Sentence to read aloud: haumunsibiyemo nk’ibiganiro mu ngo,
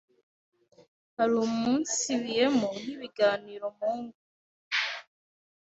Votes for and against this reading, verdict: 1, 2, rejected